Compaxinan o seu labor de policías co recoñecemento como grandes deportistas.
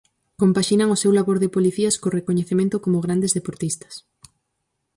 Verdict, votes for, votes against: accepted, 4, 0